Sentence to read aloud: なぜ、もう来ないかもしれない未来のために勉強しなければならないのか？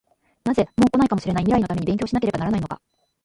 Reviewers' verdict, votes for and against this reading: rejected, 0, 2